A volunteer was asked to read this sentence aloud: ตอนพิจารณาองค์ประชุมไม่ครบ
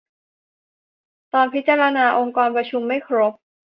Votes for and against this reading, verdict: 0, 2, rejected